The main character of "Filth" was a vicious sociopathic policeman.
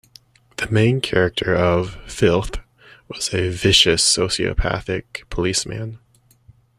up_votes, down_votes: 2, 0